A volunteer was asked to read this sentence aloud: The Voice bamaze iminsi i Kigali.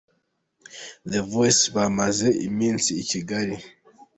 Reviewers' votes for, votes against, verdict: 2, 0, accepted